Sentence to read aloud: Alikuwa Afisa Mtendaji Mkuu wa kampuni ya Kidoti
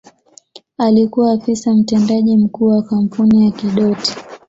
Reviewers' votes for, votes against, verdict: 2, 0, accepted